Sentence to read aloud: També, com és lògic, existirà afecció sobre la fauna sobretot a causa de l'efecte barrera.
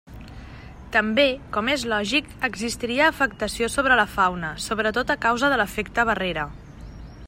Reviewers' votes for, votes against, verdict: 1, 2, rejected